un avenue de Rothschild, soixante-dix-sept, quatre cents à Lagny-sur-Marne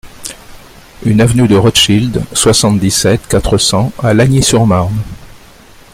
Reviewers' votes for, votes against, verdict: 0, 2, rejected